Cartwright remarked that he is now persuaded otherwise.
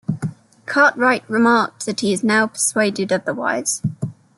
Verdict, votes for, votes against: accepted, 2, 1